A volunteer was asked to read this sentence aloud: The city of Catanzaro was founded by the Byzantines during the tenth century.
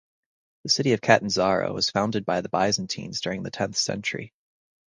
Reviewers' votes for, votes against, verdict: 0, 2, rejected